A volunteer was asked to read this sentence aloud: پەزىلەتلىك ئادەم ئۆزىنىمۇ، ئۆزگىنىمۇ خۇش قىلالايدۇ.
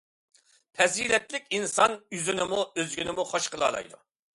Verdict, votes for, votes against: rejected, 0, 2